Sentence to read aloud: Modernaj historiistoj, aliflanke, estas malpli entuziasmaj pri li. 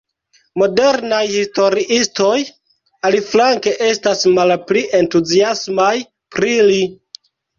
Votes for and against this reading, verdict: 1, 2, rejected